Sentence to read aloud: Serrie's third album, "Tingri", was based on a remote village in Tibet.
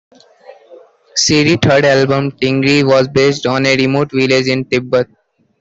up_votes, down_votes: 0, 2